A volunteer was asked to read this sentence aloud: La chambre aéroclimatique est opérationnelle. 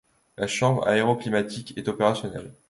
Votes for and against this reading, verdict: 2, 0, accepted